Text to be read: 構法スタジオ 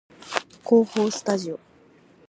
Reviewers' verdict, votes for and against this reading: accepted, 4, 0